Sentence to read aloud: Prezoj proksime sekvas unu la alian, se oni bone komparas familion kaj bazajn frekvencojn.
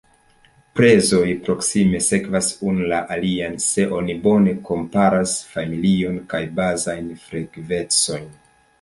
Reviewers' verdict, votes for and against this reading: accepted, 2, 0